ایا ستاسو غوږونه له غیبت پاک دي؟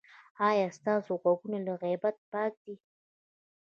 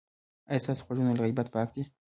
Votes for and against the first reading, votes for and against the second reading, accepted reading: 1, 2, 2, 0, second